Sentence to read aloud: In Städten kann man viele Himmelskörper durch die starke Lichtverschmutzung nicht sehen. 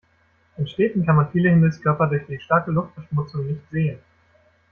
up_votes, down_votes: 1, 2